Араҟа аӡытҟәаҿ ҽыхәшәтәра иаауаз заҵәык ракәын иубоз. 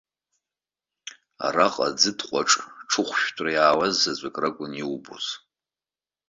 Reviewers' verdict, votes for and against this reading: accepted, 2, 0